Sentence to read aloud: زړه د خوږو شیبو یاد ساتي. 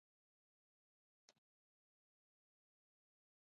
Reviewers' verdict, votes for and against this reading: rejected, 0, 2